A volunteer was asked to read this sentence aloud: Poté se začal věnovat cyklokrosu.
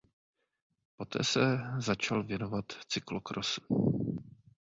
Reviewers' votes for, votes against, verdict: 2, 1, accepted